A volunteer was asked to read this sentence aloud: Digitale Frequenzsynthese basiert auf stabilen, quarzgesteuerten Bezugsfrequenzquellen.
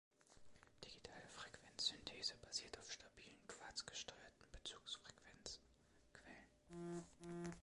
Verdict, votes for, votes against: accepted, 2, 0